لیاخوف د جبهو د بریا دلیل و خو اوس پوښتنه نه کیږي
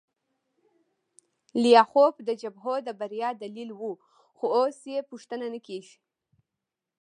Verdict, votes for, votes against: rejected, 0, 2